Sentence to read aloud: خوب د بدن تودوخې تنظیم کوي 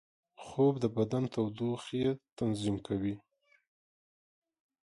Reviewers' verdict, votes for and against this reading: accepted, 3, 0